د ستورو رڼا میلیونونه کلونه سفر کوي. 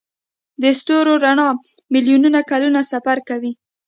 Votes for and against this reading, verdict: 2, 0, accepted